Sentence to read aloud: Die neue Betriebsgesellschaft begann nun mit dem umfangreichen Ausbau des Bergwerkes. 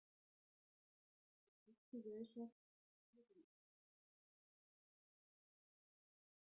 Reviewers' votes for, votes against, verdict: 0, 2, rejected